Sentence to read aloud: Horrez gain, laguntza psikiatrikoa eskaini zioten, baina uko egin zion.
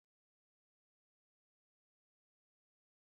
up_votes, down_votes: 0, 2